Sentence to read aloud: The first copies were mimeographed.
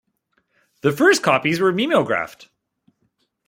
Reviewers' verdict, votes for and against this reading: accepted, 2, 0